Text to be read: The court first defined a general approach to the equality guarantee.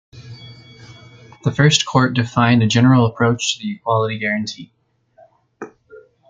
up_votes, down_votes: 0, 2